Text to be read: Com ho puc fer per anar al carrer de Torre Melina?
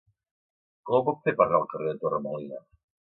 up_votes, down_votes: 0, 2